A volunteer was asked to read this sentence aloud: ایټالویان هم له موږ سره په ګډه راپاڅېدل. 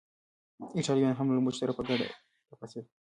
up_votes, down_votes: 0, 2